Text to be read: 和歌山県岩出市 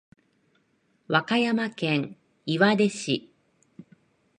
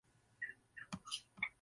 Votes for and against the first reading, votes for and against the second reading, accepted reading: 4, 1, 0, 2, first